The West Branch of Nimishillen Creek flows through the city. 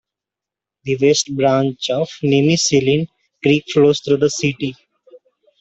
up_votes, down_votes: 2, 0